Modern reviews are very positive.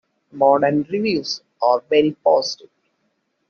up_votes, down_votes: 2, 0